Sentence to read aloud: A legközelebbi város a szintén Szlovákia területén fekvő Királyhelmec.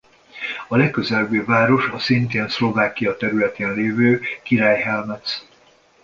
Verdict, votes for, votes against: rejected, 0, 2